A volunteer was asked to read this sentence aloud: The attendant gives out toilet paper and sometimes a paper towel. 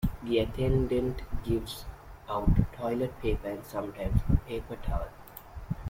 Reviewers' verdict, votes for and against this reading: accepted, 2, 1